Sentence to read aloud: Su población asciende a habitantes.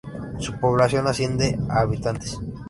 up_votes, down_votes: 2, 0